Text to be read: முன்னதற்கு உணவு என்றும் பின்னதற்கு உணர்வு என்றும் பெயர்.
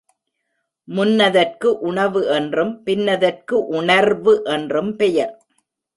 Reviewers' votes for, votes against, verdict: 2, 0, accepted